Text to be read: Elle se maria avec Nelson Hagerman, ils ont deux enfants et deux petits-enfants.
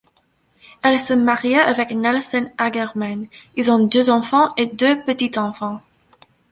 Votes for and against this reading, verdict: 0, 2, rejected